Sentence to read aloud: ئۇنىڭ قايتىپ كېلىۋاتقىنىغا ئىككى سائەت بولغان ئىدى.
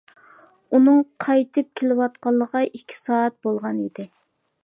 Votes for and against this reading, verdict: 0, 2, rejected